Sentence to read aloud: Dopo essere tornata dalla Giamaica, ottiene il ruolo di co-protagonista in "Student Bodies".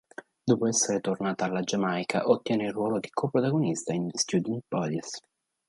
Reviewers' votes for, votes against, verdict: 1, 2, rejected